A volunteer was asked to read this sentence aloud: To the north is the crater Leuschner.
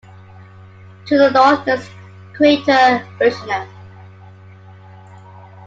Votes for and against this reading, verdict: 0, 2, rejected